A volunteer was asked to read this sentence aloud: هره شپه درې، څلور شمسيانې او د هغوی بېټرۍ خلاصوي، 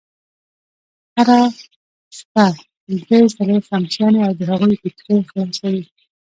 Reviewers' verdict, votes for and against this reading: rejected, 1, 2